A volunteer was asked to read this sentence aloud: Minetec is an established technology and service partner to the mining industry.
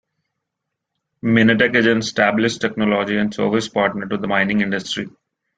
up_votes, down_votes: 2, 0